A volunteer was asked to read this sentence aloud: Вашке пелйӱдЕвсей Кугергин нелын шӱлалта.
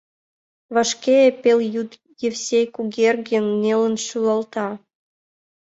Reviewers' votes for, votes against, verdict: 1, 2, rejected